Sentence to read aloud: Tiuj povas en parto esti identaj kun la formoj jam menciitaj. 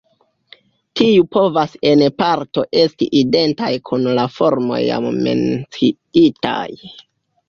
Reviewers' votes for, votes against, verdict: 2, 1, accepted